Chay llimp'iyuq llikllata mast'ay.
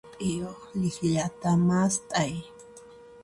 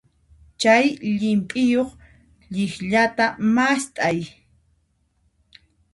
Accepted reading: second